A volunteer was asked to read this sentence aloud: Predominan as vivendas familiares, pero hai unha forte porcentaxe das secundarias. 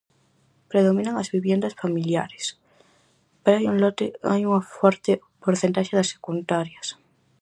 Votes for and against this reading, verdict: 0, 4, rejected